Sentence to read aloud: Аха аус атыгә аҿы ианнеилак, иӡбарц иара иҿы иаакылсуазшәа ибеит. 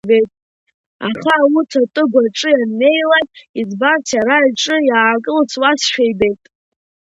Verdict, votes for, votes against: rejected, 0, 2